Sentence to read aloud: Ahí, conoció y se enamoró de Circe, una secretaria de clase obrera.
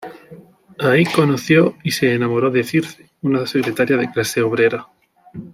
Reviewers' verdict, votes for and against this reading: accepted, 2, 1